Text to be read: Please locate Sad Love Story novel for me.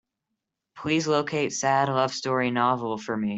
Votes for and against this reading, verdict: 3, 0, accepted